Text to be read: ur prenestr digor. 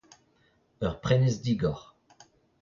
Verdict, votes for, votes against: rejected, 0, 2